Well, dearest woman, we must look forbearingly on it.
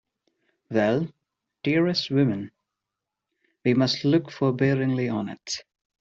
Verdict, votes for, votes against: rejected, 0, 2